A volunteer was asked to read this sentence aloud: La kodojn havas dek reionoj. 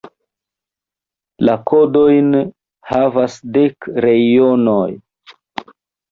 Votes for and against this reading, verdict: 2, 1, accepted